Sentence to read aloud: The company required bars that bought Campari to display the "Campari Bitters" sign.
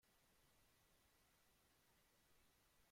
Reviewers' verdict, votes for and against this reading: rejected, 0, 2